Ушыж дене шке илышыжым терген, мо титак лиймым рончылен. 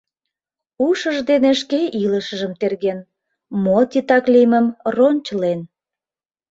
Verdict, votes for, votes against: accepted, 2, 0